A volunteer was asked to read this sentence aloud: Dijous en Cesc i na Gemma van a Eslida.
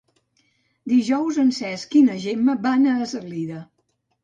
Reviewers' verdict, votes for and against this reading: rejected, 1, 2